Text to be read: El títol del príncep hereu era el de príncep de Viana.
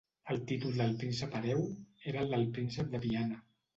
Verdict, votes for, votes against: rejected, 1, 2